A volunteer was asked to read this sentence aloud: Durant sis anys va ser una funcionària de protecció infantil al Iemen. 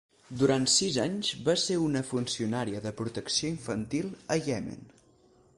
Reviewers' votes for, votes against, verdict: 4, 6, rejected